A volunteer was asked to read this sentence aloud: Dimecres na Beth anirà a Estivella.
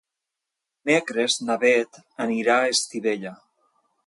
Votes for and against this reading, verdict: 1, 2, rejected